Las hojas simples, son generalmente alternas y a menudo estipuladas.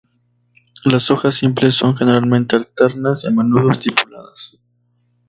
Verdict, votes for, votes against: accepted, 2, 0